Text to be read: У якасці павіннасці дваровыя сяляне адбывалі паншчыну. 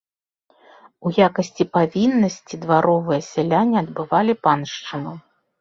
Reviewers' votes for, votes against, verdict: 2, 0, accepted